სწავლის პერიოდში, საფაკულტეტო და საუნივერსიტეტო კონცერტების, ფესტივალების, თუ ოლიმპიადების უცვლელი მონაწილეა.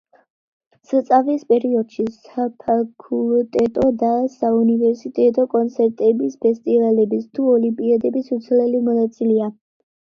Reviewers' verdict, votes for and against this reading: rejected, 1, 2